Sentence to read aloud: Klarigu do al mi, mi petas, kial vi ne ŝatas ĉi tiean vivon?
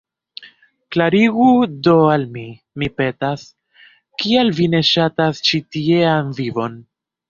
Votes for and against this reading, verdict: 2, 0, accepted